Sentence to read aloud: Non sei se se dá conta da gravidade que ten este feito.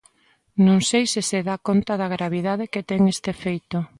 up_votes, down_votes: 2, 0